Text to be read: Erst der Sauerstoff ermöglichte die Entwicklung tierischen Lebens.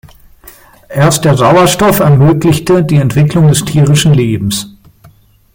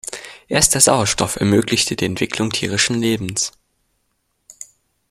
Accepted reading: second